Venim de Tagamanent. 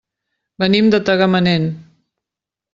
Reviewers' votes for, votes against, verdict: 3, 0, accepted